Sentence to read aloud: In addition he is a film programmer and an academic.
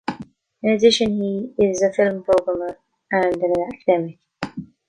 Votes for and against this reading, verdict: 1, 2, rejected